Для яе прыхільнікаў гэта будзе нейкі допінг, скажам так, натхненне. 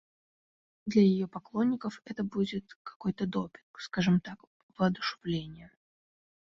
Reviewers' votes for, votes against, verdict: 0, 2, rejected